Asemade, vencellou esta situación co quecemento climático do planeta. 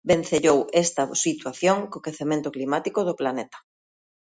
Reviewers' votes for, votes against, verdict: 0, 2, rejected